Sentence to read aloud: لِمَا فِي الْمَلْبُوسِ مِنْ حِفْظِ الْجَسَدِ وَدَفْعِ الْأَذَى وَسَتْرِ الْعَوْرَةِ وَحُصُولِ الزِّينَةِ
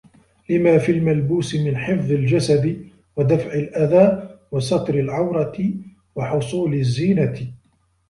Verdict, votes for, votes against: accepted, 2, 0